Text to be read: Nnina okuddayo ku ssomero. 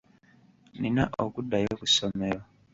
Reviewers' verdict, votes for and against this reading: rejected, 1, 2